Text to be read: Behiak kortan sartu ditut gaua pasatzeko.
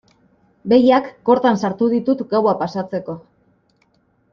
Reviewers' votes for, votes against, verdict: 2, 0, accepted